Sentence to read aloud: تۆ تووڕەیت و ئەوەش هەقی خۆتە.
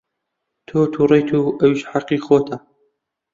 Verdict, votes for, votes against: rejected, 0, 2